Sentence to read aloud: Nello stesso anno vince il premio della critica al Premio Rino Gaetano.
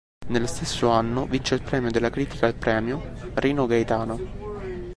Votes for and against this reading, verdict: 2, 0, accepted